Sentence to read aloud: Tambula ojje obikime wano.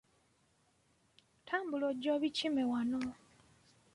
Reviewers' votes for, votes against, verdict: 2, 0, accepted